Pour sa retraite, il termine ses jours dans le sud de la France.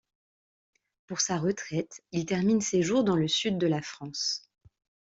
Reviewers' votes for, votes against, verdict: 2, 0, accepted